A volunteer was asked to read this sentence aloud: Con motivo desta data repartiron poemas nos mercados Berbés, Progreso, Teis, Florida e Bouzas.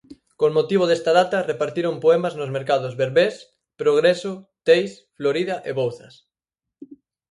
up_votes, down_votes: 6, 0